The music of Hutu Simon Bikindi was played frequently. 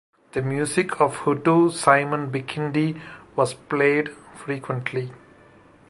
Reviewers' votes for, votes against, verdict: 2, 0, accepted